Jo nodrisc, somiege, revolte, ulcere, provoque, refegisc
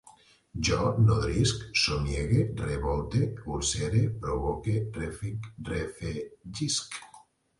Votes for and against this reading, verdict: 0, 2, rejected